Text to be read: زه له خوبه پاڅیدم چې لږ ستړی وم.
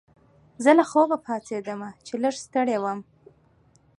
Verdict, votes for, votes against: accepted, 2, 0